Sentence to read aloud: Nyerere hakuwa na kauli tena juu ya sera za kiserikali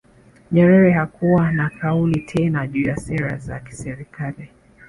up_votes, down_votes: 1, 2